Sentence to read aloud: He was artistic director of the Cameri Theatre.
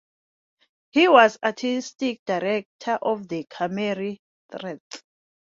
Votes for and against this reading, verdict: 1, 2, rejected